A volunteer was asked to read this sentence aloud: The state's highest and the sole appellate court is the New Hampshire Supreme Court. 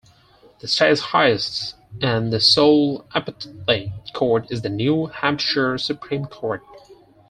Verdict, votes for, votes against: rejected, 2, 4